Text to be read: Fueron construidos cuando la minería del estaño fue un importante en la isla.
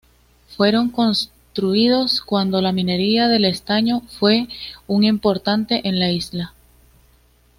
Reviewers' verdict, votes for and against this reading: rejected, 1, 2